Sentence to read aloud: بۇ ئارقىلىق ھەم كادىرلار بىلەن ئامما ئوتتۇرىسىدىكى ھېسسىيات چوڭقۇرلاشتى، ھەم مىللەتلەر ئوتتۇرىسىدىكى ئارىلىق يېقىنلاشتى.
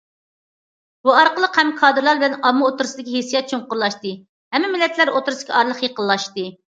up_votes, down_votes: 0, 2